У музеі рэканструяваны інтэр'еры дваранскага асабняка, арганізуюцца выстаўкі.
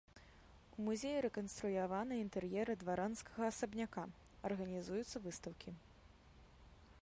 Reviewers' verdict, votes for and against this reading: rejected, 1, 2